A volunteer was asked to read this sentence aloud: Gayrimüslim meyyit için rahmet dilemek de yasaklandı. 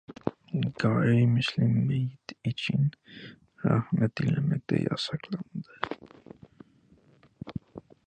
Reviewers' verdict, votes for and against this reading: rejected, 0, 2